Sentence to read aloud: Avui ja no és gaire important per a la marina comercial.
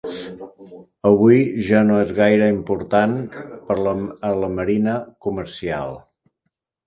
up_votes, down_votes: 0, 2